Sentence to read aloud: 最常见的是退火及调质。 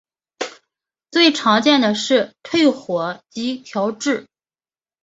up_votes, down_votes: 5, 0